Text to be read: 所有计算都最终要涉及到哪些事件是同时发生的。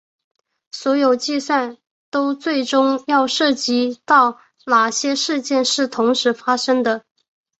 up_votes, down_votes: 7, 1